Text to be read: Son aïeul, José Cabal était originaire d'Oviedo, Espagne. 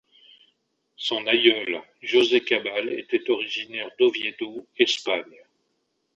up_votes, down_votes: 2, 0